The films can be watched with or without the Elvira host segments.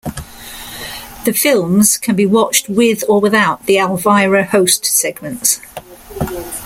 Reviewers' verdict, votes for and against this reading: accepted, 2, 1